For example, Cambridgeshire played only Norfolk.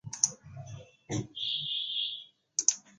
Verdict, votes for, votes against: rejected, 0, 2